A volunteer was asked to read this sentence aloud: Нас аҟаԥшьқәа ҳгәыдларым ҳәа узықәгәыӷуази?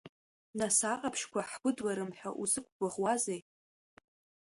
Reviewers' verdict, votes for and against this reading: rejected, 1, 2